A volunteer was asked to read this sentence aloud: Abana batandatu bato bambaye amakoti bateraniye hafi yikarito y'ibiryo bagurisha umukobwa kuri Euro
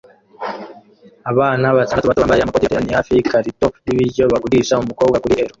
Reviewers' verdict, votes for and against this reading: rejected, 0, 2